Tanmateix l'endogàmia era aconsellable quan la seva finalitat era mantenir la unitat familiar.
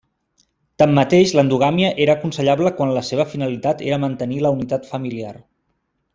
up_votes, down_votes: 3, 0